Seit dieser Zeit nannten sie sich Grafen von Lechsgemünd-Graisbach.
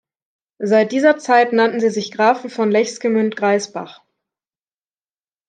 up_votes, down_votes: 2, 0